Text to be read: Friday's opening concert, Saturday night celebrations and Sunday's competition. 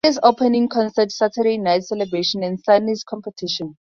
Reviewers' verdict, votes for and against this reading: rejected, 2, 2